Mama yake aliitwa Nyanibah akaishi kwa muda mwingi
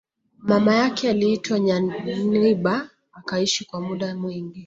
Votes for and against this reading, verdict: 2, 0, accepted